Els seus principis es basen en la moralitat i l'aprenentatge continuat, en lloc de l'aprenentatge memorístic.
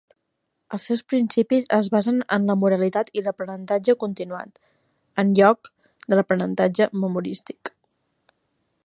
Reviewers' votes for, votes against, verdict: 3, 0, accepted